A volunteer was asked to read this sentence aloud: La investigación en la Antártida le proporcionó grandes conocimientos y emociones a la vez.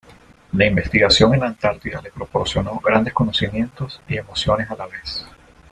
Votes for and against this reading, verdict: 2, 0, accepted